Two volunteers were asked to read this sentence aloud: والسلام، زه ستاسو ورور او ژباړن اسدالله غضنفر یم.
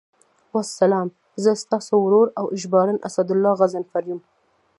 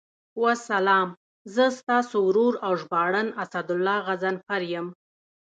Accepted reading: second